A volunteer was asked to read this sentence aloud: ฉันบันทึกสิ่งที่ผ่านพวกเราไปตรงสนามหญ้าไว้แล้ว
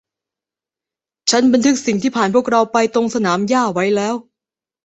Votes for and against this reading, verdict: 0, 2, rejected